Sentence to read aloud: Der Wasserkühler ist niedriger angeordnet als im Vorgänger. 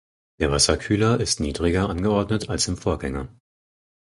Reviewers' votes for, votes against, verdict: 4, 0, accepted